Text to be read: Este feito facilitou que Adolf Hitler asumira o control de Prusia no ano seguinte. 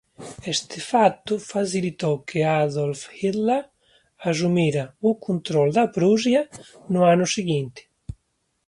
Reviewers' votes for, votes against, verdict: 1, 2, rejected